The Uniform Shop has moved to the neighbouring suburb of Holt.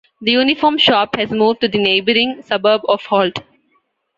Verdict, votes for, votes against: accepted, 2, 0